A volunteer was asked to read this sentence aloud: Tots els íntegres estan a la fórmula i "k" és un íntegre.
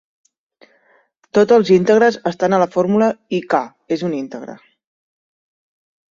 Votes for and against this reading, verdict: 1, 2, rejected